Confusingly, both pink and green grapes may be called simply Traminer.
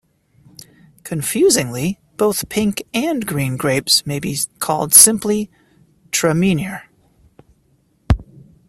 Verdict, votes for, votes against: rejected, 1, 2